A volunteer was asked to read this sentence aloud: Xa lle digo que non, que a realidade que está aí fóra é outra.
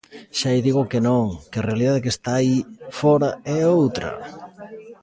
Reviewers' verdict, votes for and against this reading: rejected, 0, 2